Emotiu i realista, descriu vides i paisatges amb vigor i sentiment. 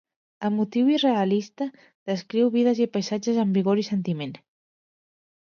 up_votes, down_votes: 2, 0